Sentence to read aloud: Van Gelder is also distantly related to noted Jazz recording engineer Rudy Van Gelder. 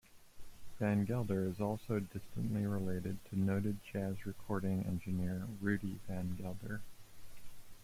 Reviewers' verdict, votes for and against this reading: accepted, 2, 1